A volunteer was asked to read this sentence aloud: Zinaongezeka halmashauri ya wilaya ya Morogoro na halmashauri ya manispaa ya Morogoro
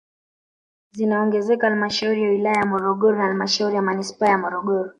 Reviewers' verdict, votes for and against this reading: accepted, 3, 0